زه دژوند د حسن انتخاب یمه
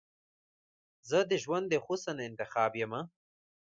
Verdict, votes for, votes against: accepted, 2, 0